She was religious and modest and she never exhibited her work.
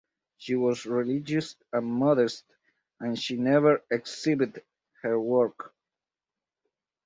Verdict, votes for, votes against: rejected, 2, 2